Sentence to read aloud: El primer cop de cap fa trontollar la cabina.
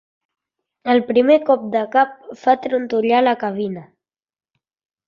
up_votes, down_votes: 2, 0